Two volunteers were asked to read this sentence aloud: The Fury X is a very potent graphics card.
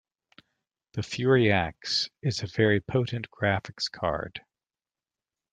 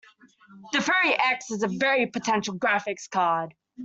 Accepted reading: first